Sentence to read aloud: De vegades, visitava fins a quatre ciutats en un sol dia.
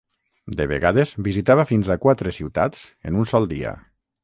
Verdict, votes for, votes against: accepted, 6, 0